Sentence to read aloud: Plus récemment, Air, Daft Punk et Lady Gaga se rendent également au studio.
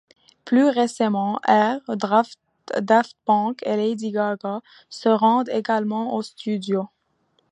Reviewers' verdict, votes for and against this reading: rejected, 1, 2